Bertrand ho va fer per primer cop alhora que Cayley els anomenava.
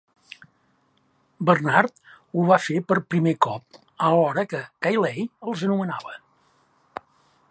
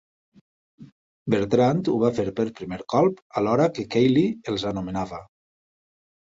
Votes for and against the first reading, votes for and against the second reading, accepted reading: 0, 2, 2, 0, second